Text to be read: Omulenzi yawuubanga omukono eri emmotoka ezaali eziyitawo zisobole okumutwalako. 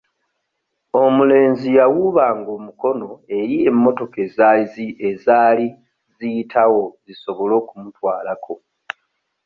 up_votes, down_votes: 1, 2